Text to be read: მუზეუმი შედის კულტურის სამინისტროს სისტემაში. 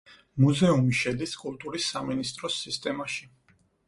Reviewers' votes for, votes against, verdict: 4, 0, accepted